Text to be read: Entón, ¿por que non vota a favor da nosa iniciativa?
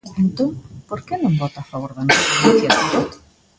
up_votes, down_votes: 0, 3